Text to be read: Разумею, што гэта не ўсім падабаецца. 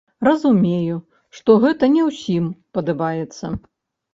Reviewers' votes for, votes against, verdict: 1, 2, rejected